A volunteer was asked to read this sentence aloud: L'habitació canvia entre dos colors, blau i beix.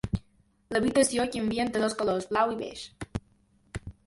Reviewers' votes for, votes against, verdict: 2, 0, accepted